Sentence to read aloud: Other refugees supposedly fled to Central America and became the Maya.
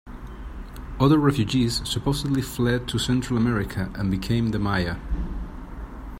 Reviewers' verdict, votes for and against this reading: accepted, 2, 0